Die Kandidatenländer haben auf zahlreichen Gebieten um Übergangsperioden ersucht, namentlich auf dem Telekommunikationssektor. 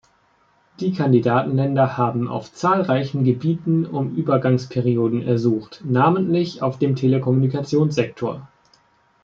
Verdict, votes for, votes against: accepted, 2, 0